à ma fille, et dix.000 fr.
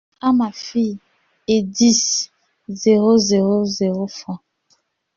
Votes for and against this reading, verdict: 0, 2, rejected